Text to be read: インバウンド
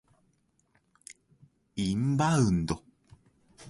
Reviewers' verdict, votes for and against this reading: accepted, 2, 0